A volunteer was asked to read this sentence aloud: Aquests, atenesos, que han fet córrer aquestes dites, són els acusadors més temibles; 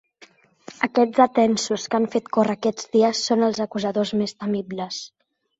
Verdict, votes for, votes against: rejected, 0, 3